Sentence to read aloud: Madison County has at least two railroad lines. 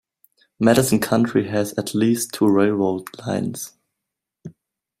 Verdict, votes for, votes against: rejected, 0, 2